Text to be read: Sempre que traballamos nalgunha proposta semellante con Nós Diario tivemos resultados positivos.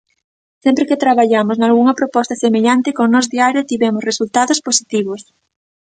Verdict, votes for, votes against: accepted, 2, 0